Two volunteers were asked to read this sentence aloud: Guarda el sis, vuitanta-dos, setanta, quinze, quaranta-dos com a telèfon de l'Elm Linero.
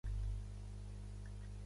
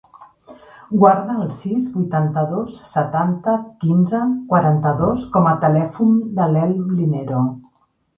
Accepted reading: second